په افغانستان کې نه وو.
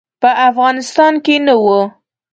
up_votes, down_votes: 2, 0